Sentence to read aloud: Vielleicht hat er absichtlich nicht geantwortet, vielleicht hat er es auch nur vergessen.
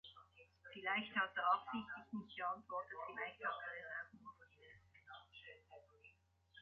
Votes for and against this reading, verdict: 0, 2, rejected